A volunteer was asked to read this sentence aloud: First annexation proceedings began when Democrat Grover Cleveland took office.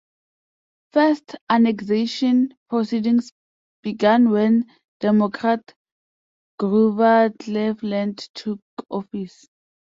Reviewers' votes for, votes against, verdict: 1, 2, rejected